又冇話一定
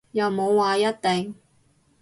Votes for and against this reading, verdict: 2, 0, accepted